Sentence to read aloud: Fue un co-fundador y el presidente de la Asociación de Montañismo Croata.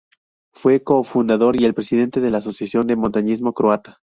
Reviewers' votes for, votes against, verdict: 0, 2, rejected